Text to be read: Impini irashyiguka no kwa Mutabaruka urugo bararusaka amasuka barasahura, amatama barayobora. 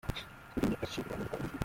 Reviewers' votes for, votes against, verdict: 0, 2, rejected